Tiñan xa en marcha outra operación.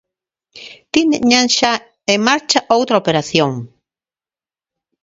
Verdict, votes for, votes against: rejected, 0, 2